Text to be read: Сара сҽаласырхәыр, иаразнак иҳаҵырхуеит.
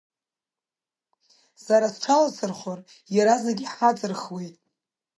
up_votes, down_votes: 3, 0